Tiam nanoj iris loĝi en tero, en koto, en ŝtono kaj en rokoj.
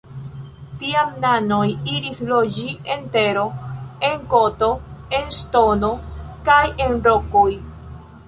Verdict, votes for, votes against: rejected, 1, 2